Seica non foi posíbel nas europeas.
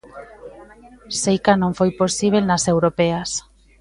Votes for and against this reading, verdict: 2, 0, accepted